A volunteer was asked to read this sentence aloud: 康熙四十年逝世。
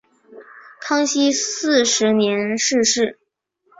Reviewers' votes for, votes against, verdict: 2, 0, accepted